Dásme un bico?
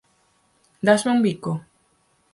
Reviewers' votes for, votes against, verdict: 4, 0, accepted